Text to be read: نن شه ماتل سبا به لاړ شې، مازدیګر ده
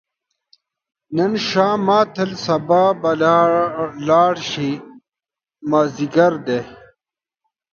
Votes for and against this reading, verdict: 0, 2, rejected